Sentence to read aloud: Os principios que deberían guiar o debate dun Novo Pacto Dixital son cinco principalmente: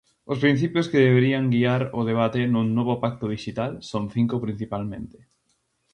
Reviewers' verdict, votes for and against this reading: rejected, 0, 2